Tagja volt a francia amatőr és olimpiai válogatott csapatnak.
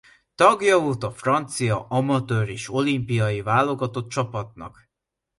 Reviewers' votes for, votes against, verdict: 2, 0, accepted